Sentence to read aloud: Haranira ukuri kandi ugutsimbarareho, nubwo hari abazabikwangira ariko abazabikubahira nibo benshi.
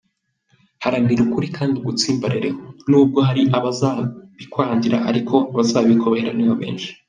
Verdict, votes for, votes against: rejected, 0, 2